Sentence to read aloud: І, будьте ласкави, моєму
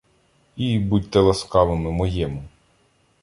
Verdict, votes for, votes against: rejected, 0, 2